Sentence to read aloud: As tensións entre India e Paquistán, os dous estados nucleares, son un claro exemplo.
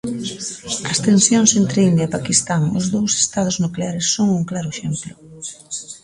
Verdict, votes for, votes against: accepted, 2, 1